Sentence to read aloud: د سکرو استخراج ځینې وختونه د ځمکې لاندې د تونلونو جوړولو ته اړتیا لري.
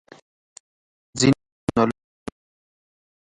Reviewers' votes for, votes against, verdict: 0, 2, rejected